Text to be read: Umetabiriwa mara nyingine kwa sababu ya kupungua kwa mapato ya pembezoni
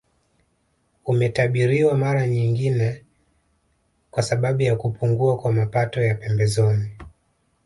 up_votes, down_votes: 1, 2